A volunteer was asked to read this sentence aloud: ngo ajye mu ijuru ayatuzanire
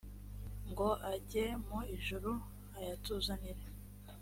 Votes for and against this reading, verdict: 2, 0, accepted